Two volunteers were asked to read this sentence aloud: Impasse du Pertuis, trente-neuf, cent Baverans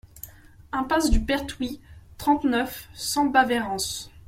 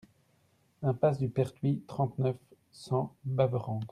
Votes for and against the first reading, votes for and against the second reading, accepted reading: 1, 2, 2, 0, second